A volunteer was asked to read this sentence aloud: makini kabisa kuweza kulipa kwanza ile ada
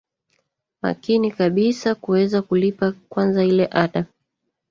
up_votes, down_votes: 1, 2